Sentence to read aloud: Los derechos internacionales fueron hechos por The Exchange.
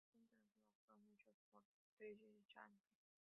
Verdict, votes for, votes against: rejected, 0, 2